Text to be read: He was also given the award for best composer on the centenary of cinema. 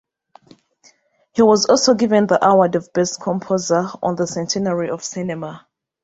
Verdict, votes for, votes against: rejected, 1, 2